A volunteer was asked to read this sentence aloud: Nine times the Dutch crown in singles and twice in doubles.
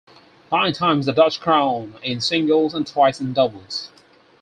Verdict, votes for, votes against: accepted, 4, 0